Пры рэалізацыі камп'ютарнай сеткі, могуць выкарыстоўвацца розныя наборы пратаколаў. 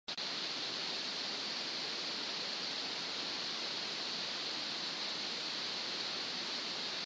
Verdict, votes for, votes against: rejected, 0, 2